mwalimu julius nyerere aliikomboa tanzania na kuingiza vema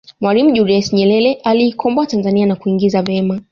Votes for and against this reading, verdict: 2, 0, accepted